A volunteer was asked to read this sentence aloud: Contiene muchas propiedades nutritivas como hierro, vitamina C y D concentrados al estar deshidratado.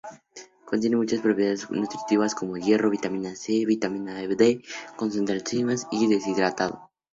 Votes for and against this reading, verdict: 0, 2, rejected